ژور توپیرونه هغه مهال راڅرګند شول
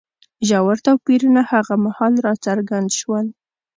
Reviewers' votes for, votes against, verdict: 2, 0, accepted